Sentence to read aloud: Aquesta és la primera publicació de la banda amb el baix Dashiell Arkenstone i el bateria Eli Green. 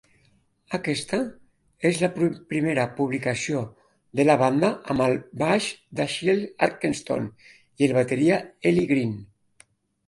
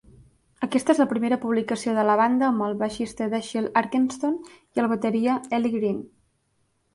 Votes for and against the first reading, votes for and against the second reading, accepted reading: 2, 3, 3, 1, second